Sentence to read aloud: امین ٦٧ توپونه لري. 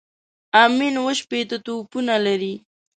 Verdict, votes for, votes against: rejected, 0, 2